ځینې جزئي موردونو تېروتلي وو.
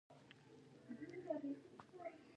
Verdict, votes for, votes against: rejected, 1, 2